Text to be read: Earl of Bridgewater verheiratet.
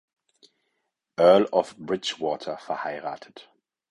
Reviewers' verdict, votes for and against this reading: accepted, 4, 0